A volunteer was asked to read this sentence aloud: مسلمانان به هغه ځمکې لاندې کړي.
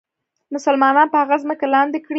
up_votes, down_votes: 1, 2